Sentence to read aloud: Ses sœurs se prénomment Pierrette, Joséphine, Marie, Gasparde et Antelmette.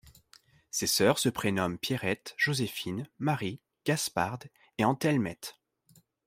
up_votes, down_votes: 2, 0